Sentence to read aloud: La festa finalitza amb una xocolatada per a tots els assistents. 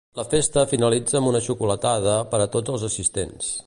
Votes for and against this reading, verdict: 3, 0, accepted